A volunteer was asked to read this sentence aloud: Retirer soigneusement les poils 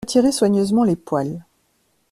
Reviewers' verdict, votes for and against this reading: rejected, 1, 2